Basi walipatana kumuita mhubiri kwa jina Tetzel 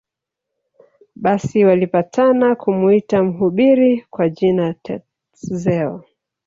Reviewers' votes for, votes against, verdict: 1, 2, rejected